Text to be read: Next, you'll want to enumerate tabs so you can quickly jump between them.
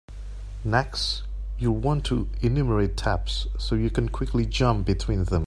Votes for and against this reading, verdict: 2, 0, accepted